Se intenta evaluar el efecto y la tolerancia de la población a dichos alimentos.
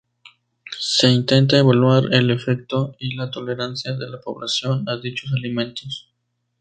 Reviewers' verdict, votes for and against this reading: accepted, 2, 0